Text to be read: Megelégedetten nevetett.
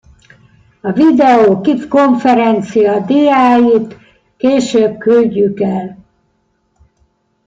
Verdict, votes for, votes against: rejected, 0, 2